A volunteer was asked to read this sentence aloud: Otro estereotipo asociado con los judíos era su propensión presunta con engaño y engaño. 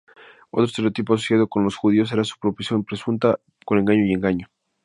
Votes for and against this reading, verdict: 0, 2, rejected